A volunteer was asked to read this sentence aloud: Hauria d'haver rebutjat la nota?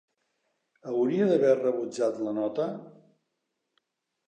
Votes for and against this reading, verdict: 3, 0, accepted